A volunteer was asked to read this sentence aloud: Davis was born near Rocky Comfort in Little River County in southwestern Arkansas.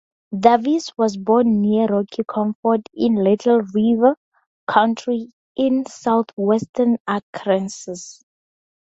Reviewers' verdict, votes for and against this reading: rejected, 0, 2